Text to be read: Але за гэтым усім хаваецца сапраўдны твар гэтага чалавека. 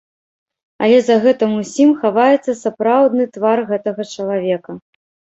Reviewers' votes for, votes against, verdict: 1, 2, rejected